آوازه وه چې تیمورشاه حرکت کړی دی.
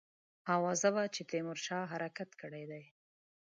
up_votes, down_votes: 2, 0